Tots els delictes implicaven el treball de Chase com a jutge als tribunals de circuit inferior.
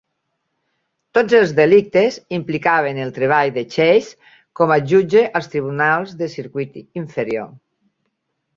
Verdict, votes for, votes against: accepted, 3, 0